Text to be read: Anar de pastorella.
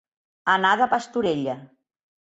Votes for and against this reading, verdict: 2, 0, accepted